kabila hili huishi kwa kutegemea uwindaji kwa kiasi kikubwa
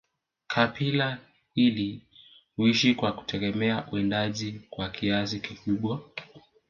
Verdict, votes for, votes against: accepted, 2, 0